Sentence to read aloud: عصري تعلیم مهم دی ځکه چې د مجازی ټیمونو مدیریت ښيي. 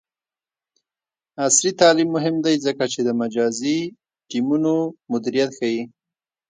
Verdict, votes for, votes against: rejected, 1, 2